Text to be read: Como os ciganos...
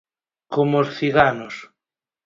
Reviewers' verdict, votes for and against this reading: accepted, 4, 0